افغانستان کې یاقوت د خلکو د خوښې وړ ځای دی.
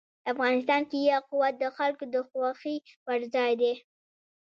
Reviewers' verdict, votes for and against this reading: accepted, 2, 0